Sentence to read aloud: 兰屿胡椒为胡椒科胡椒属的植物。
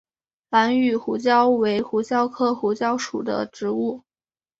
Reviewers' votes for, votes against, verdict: 3, 0, accepted